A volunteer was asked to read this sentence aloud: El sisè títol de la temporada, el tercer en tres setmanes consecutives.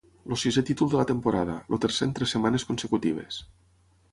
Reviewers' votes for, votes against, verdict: 3, 6, rejected